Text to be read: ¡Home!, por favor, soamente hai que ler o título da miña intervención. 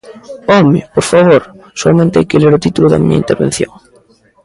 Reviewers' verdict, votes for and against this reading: accepted, 2, 0